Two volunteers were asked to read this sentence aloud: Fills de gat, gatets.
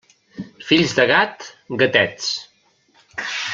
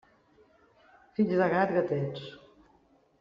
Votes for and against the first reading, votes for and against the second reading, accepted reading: 3, 0, 1, 2, first